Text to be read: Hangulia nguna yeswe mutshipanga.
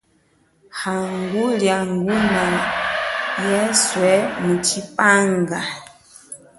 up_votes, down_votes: 0, 2